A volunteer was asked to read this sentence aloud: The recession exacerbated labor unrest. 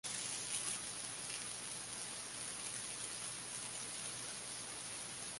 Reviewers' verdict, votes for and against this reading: rejected, 0, 15